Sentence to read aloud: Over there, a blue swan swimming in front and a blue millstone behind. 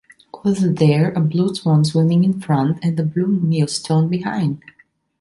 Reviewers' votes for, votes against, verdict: 3, 1, accepted